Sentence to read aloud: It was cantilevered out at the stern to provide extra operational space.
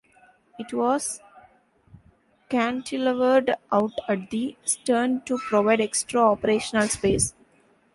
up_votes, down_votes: 1, 2